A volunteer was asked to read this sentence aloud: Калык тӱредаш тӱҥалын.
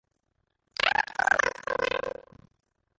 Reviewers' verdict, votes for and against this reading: rejected, 0, 2